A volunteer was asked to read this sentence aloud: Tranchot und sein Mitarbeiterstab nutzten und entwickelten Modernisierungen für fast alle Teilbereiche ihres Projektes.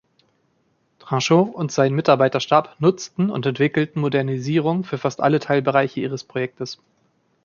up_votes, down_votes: 2, 0